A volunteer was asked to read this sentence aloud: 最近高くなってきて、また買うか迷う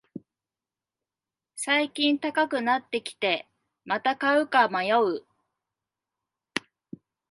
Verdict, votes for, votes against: accepted, 2, 0